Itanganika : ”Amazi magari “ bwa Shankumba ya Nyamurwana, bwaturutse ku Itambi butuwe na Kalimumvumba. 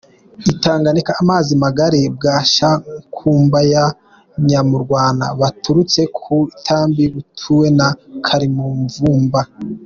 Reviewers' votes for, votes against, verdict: 2, 0, accepted